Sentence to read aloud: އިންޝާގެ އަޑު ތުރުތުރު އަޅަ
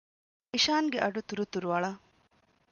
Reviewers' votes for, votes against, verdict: 0, 2, rejected